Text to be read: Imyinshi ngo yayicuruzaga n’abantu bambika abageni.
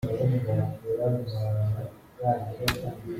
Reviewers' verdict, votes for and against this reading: rejected, 0, 4